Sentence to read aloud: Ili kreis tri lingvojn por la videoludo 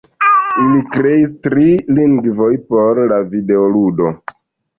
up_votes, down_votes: 0, 2